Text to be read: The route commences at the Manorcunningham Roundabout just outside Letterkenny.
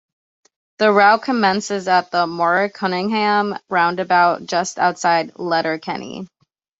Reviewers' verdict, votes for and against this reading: accepted, 2, 0